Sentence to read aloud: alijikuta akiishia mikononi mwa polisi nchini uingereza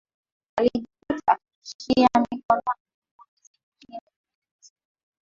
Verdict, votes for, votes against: rejected, 3, 5